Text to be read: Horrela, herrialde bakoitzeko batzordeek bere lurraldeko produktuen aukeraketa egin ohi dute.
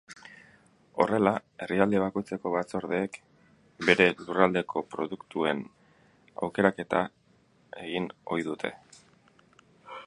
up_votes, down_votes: 0, 4